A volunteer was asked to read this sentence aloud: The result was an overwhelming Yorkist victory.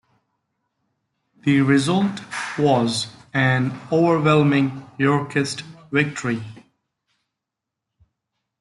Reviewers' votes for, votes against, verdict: 2, 1, accepted